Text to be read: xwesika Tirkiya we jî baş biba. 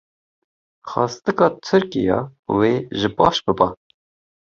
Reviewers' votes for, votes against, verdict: 1, 2, rejected